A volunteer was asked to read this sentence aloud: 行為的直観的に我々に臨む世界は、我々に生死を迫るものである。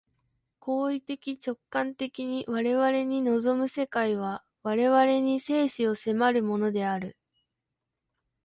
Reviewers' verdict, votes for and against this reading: accepted, 2, 0